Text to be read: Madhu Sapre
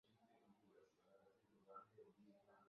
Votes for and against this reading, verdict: 0, 2, rejected